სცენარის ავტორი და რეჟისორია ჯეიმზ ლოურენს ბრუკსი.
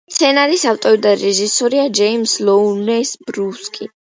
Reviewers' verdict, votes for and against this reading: accepted, 2, 1